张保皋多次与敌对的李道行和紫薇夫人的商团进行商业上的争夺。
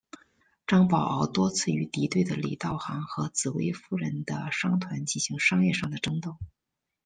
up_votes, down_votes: 1, 2